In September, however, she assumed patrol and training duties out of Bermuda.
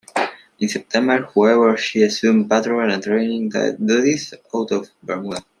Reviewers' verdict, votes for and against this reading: rejected, 0, 2